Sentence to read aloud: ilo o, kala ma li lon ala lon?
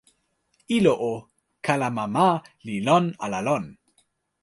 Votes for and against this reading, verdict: 1, 2, rejected